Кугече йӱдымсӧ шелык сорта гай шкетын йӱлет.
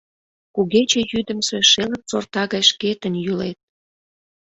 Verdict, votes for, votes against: accepted, 2, 0